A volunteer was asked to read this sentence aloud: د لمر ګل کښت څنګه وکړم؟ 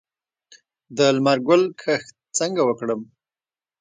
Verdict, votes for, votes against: rejected, 1, 2